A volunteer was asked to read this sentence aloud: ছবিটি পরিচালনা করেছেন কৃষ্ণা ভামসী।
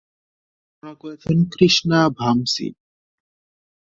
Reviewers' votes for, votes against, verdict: 0, 3, rejected